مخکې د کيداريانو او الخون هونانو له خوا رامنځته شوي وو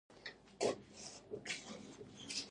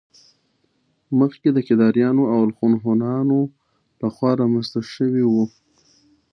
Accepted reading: second